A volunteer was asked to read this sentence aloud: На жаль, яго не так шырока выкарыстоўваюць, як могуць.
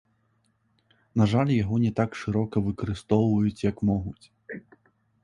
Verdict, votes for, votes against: accepted, 2, 0